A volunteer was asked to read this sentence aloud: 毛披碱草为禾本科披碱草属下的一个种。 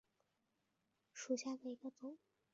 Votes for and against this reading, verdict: 0, 3, rejected